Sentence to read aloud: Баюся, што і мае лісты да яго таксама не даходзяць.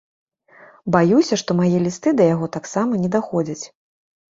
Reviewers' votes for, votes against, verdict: 0, 3, rejected